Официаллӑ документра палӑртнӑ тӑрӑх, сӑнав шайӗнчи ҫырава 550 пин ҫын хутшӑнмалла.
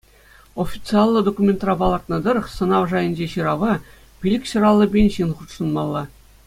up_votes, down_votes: 0, 2